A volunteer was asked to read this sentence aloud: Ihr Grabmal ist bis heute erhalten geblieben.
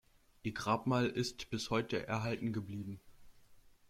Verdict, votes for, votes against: rejected, 0, 2